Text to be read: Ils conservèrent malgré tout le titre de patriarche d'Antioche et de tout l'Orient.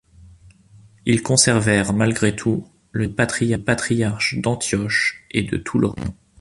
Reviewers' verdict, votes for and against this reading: rejected, 0, 2